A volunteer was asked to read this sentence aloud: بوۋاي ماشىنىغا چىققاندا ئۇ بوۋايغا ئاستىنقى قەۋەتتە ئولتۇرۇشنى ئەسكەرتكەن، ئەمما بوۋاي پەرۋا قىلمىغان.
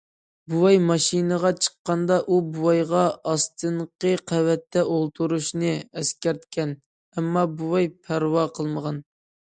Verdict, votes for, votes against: accepted, 2, 0